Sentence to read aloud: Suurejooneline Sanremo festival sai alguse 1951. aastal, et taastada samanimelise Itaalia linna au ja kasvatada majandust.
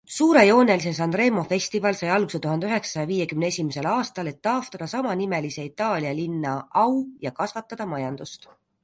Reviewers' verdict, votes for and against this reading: rejected, 0, 2